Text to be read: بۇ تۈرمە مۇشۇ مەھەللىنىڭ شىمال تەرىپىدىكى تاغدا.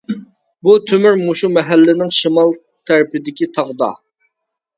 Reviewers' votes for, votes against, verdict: 0, 2, rejected